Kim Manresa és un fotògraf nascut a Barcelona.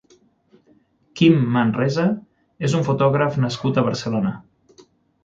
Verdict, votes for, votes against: accepted, 6, 0